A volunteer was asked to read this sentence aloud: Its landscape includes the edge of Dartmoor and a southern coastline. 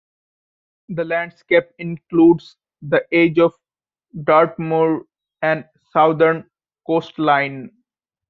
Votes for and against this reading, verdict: 1, 2, rejected